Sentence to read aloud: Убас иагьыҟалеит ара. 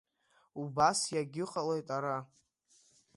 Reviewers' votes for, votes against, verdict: 0, 2, rejected